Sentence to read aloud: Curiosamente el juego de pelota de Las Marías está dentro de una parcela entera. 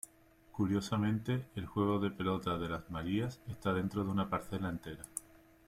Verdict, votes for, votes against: accepted, 2, 0